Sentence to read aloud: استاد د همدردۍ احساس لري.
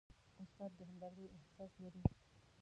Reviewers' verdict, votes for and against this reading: rejected, 0, 2